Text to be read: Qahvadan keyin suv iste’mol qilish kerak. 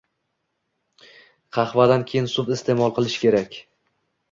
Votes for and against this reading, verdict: 2, 0, accepted